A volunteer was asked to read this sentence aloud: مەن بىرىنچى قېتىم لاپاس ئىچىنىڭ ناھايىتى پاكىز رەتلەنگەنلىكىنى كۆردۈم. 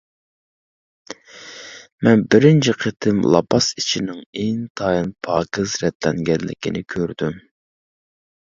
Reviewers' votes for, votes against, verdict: 0, 2, rejected